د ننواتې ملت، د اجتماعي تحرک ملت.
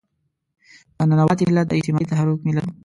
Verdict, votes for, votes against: rejected, 1, 2